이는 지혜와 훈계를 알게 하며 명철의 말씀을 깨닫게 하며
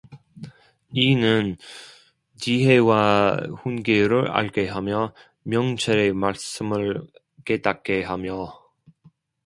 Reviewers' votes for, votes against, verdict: 0, 2, rejected